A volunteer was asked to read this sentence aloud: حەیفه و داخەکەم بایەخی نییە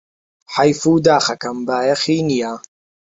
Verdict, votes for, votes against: rejected, 1, 2